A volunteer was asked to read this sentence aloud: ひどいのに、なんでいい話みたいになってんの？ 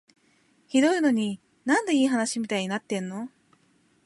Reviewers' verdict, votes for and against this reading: accepted, 4, 0